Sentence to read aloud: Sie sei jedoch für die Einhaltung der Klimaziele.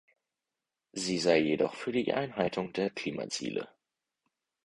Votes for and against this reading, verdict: 4, 0, accepted